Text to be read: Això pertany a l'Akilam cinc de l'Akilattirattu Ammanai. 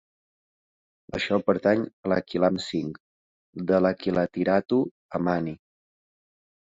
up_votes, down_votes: 0, 3